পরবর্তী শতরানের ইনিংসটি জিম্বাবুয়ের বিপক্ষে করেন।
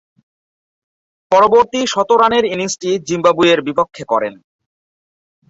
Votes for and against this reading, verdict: 5, 0, accepted